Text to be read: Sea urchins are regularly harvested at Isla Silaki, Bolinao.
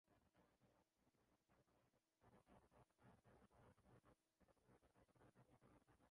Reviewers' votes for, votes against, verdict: 0, 3, rejected